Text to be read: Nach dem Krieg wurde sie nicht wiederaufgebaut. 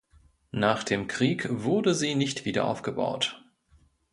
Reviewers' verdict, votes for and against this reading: accepted, 2, 0